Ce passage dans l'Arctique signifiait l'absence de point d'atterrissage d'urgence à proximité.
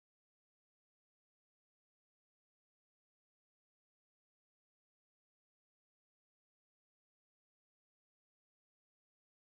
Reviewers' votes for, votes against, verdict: 0, 2, rejected